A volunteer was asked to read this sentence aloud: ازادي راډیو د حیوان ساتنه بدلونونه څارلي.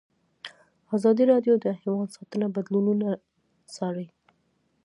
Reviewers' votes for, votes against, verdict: 1, 2, rejected